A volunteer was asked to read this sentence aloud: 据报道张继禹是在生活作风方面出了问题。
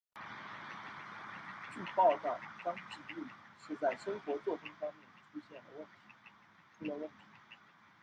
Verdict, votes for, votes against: rejected, 0, 2